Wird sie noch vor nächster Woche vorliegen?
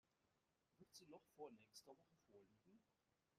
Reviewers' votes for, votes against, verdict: 0, 2, rejected